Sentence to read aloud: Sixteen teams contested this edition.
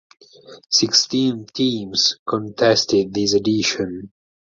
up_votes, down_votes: 4, 2